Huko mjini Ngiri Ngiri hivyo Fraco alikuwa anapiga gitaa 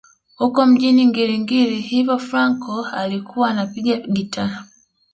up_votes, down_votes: 2, 1